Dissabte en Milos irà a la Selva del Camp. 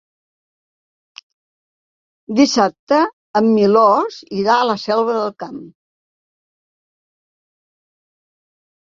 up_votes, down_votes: 3, 0